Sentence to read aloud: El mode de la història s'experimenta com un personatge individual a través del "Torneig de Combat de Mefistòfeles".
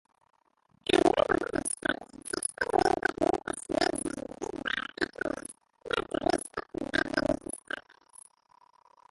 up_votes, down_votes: 0, 3